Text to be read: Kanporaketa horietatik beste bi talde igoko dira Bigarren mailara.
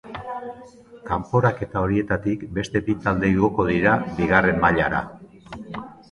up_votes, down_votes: 2, 0